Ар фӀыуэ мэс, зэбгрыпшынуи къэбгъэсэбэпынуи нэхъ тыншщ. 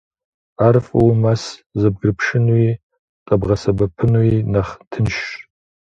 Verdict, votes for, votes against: accepted, 2, 0